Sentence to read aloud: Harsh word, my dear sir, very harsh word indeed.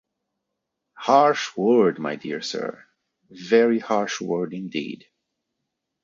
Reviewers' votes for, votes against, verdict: 2, 0, accepted